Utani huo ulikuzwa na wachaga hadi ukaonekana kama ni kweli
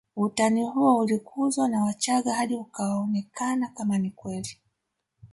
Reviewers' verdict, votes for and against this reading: accepted, 3, 0